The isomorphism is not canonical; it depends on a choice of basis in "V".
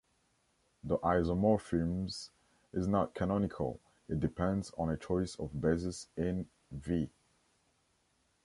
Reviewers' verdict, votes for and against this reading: rejected, 1, 2